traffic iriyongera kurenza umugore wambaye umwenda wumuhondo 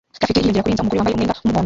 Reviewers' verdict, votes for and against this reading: rejected, 0, 2